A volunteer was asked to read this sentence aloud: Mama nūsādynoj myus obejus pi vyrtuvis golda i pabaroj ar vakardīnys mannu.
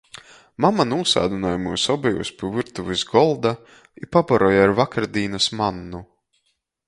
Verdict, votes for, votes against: accepted, 2, 0